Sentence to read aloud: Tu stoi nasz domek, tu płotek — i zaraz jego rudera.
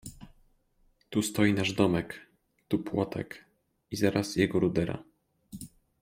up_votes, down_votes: 2, 0